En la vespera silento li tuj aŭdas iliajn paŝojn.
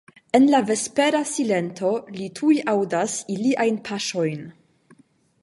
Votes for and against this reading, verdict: 5, 0, accepted